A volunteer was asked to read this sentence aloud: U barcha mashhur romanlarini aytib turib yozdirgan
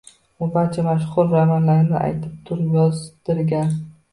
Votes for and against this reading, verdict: 1, 3, rejected